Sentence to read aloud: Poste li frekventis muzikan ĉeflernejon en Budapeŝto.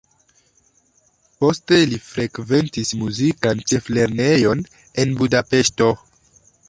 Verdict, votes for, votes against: accepted, 2, 0